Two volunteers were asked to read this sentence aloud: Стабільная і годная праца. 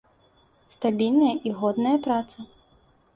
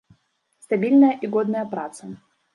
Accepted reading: first